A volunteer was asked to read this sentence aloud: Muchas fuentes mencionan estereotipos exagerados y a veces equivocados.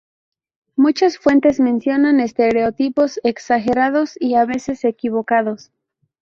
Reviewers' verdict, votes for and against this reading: accepted, 2, 0